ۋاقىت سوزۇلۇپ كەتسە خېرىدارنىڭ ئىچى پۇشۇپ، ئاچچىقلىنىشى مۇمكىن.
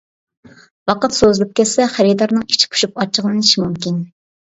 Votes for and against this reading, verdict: 2, 0, accepted